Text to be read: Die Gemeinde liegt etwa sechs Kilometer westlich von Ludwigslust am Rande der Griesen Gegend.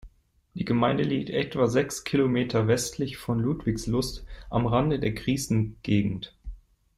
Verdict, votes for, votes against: accepted, 2, 0